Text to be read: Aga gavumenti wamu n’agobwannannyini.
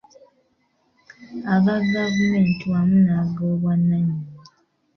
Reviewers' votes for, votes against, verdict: 3, 1, accepted